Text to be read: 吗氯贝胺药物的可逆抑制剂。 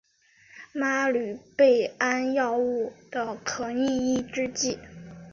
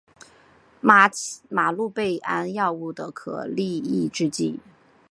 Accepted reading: first